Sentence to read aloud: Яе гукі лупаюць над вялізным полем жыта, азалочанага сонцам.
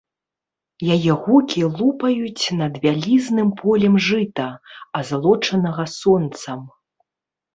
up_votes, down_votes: 0, 2